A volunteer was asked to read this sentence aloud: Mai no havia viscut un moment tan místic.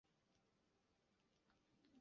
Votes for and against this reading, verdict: 0, 2, rejected